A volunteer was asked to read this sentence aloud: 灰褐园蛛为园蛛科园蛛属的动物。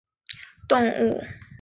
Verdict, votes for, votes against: rejected, 1, 3